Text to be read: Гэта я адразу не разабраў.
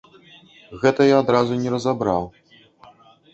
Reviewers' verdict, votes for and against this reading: rejected, 1, 2